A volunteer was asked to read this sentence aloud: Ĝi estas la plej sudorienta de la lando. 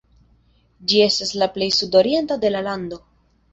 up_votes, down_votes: 2, 0